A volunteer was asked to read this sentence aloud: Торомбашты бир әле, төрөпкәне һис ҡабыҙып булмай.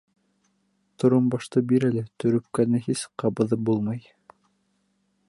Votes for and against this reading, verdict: 2, 0, accepted